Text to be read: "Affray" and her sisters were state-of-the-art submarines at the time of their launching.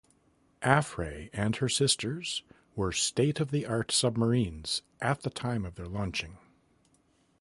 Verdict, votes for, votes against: accepted, 2, 0